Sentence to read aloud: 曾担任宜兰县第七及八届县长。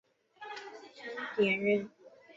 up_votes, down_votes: 0, 2